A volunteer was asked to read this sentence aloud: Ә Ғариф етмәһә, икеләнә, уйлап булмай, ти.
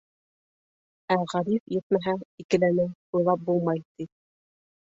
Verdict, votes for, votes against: rejected, 1, 2